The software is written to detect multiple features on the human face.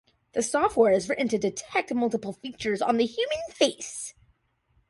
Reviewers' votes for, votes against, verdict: 2, 0, accepted